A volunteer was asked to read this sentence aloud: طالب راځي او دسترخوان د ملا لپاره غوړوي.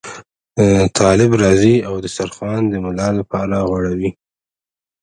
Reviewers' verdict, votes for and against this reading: rejected, 0, 2